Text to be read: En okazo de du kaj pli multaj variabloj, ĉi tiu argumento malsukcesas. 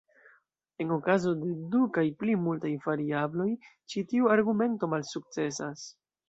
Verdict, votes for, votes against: rejected, 1, 2